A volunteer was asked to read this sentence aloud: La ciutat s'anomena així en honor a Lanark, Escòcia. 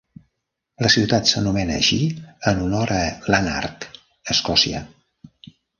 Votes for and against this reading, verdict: 2, 0, accepted